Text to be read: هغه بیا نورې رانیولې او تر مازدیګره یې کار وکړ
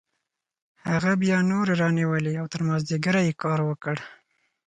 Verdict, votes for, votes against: accepted, 4, 0